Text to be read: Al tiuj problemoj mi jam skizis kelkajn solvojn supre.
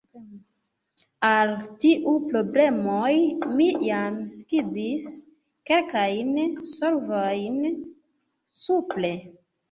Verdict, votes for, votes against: rejected, 1, 2